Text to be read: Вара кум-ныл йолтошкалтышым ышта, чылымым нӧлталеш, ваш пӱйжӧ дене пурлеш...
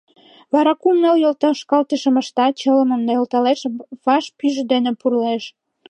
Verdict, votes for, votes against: accepted, 2, 0